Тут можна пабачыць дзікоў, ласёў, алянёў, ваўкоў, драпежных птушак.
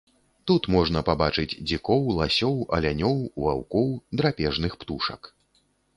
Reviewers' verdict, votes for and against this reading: accepted, 2, 0